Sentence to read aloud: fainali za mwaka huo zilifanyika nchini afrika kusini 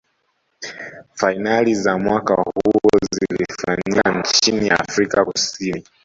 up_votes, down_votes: 0, 2